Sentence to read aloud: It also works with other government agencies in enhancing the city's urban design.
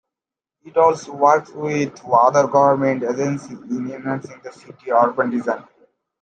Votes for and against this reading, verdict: 2, 1, accepted